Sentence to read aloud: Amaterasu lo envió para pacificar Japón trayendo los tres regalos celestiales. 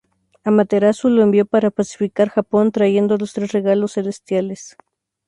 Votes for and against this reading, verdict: 2, 0, accepted